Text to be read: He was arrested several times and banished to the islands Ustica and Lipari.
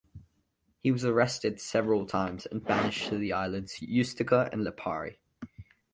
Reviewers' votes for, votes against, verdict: 2, 0, accepted